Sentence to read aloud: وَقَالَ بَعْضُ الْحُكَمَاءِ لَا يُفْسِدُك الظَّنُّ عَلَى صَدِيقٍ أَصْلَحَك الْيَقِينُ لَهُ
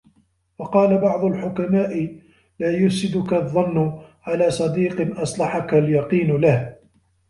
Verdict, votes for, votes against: accepted, 2, 0